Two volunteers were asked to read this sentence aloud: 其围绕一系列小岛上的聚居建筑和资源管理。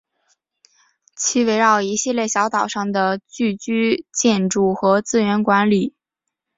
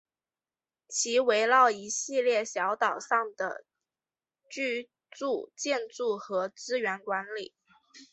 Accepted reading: first